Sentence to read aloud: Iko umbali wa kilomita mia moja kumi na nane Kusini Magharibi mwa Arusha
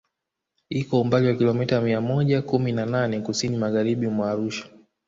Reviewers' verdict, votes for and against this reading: accepted, 2, 1